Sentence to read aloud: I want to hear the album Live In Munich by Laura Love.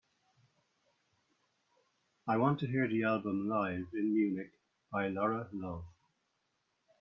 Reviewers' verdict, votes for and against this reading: accepted, 4, 0